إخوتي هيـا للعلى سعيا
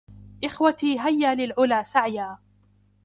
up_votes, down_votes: 2, 0